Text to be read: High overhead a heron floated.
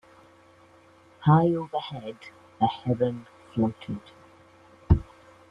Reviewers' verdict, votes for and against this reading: accepted, 2, 0